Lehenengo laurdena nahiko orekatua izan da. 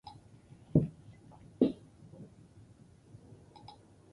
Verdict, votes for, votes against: rejected, 0, 2